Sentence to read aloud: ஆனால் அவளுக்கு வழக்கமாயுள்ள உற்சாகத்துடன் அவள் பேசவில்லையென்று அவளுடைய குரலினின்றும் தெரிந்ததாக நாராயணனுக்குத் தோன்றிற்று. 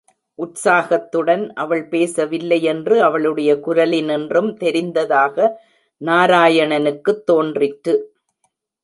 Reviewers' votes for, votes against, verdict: 1, 4, rejected